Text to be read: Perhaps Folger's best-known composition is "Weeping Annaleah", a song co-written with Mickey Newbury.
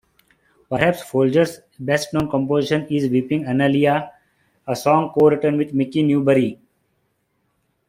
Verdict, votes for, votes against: accepted, 3, 2